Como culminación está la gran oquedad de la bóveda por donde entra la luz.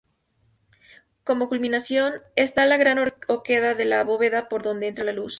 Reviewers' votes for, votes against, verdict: 2, 0, accepted